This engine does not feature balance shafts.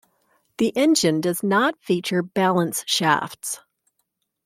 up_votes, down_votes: 0, 2